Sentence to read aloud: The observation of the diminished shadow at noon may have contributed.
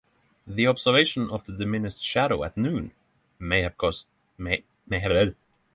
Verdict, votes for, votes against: rejected, 0, 6